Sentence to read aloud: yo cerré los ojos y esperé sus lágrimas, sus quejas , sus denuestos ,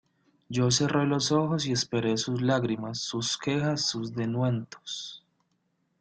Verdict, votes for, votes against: rejected, 0, 2